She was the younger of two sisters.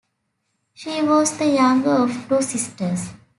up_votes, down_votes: 2, 0